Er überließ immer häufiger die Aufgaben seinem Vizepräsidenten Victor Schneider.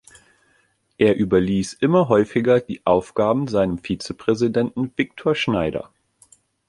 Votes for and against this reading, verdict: 2, 0, accepted